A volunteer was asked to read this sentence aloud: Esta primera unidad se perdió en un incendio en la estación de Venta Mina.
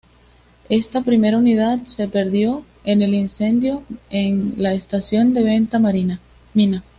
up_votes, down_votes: 2, 0